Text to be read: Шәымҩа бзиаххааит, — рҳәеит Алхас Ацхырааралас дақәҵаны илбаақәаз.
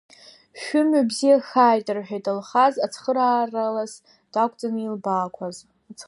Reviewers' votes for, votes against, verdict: 0, 2, rejected